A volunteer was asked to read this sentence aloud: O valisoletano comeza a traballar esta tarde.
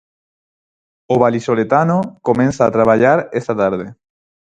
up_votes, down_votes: 0, 4